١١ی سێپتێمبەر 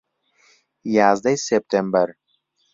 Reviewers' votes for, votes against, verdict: 0, 2, rejected